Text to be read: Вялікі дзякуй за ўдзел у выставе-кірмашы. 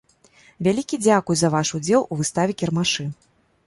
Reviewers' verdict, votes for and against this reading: rejected, 0, 2